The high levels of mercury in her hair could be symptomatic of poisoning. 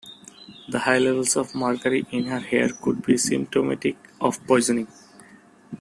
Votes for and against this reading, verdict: 2, 0, accepted